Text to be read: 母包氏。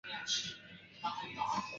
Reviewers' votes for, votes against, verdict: 1, 3, rejected